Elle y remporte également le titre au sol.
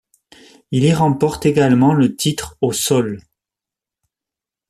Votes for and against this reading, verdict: 0, 2, rejected